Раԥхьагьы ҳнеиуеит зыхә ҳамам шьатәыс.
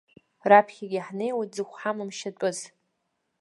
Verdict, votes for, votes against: accepted, 2, 0